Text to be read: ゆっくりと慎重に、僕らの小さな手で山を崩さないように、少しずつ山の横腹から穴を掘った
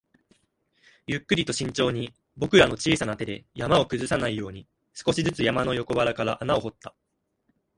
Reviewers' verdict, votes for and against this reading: accepted, 2, 0